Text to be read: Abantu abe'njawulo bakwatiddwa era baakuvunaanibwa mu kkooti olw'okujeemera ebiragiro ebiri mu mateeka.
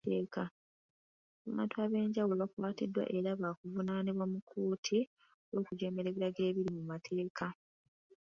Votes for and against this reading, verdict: 1, 2, rejected